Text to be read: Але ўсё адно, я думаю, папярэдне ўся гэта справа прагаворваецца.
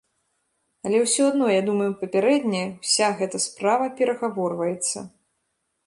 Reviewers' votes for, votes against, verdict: 0, 2, rejected